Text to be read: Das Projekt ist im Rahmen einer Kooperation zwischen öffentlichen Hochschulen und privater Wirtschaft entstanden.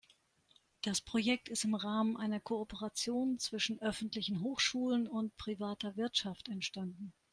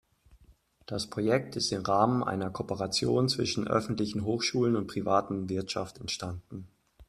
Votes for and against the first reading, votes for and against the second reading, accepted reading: 4, 0, 0, 2, first